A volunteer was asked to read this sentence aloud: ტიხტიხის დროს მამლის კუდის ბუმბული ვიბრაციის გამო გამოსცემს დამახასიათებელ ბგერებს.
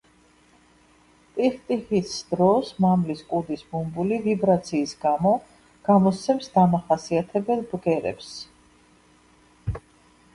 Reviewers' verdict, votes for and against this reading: rejected, 0, 2